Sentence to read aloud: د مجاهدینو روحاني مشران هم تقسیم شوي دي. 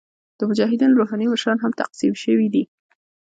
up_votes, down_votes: 1, 2